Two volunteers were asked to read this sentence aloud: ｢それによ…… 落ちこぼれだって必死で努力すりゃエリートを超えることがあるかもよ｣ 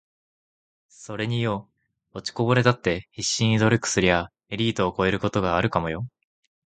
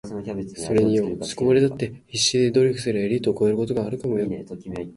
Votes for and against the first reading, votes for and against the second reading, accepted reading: 2, 0, 1, 2, first